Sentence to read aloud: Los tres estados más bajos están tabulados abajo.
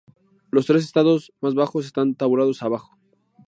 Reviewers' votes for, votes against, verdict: 2, 0, accepted